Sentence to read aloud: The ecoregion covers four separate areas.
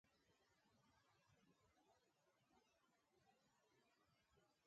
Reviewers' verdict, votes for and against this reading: rejected, 0, 2